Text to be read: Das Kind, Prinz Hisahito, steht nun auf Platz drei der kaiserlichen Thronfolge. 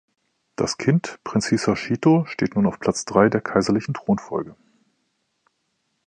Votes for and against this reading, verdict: 1, 2, rejected